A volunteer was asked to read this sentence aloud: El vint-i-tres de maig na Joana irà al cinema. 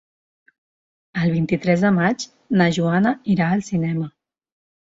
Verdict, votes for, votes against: accepted, 2, 0